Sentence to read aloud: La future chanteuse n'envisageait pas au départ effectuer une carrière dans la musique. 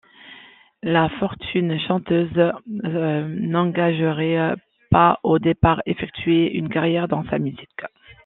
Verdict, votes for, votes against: rejected, 0, 2